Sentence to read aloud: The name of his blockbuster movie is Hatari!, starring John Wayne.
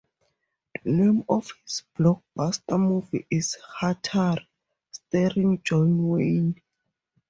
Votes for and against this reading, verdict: 4, 0, accepted